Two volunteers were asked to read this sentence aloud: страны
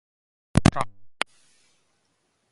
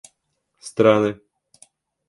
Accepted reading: second